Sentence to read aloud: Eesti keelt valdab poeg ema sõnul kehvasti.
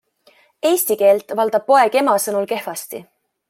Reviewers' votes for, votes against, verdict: 3, 0, accepted